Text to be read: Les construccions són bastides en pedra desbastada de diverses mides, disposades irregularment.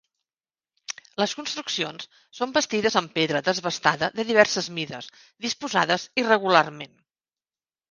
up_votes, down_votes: 2, 0